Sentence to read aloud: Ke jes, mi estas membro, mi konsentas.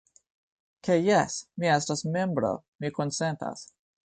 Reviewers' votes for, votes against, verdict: 2, 0, accepted